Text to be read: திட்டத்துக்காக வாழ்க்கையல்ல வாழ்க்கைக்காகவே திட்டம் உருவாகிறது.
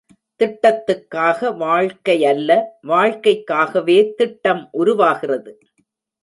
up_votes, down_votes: 1, 2